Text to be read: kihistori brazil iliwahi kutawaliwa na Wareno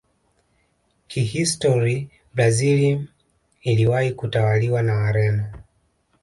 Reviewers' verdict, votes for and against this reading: accepted, 2, 0